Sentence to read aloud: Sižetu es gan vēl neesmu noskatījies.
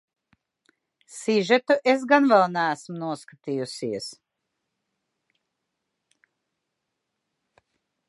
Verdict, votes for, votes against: rejected, 1, 2